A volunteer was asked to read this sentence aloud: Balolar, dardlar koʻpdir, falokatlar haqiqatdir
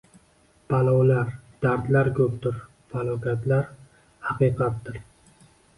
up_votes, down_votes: 1, 2